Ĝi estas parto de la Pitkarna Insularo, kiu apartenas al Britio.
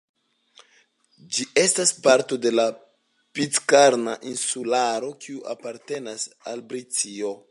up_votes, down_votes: 2, 0